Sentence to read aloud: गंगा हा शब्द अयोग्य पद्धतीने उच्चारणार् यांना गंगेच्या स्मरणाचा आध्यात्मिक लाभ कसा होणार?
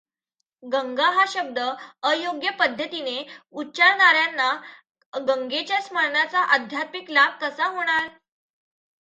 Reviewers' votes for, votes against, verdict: 2, 0, accepted